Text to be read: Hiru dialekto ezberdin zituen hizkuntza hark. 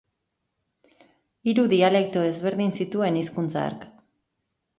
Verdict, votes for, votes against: accepted, 2, 0